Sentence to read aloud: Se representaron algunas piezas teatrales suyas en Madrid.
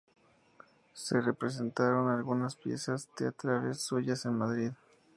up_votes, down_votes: 2, 0